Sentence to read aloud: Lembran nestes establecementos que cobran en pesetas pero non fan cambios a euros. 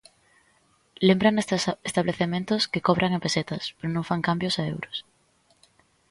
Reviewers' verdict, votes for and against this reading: rejected, 0, 2